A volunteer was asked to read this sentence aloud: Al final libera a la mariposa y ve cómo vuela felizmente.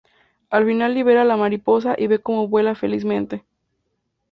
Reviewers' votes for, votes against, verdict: 2, 0, accepted